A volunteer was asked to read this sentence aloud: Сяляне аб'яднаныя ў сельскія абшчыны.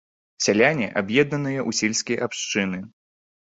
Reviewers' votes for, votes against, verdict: 0, 3, rejected